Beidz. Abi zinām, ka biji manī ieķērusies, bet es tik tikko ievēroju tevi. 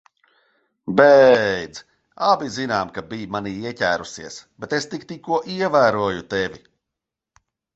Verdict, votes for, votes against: rejected, 1, 2